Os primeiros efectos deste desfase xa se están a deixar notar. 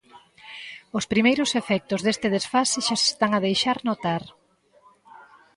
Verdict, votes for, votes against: accepted, 2, 0